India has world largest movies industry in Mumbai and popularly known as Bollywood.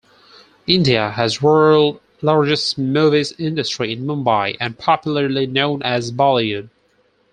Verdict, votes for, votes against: rejected, 0, 4